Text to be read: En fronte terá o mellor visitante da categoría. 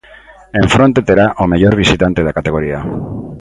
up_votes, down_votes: 2, 0